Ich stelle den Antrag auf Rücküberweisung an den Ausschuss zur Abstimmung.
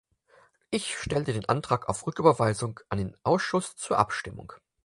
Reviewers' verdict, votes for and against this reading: accepted, 4, 0